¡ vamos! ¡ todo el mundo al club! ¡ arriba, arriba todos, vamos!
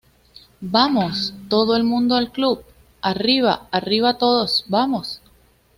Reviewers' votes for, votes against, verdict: 2, 0, accepted